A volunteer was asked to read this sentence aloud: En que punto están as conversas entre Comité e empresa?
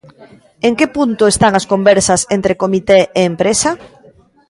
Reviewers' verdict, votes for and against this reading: rejected, 1, 2